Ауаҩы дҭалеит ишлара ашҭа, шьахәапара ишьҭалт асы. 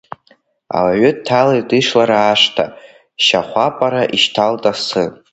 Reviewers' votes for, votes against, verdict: 2, 1, accepted